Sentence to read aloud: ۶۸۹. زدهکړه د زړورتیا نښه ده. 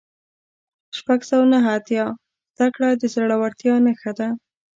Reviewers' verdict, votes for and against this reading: rejected, 0, 2